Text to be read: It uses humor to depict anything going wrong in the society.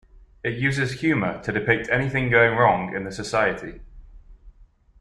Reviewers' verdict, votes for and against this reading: accepted, 2, 0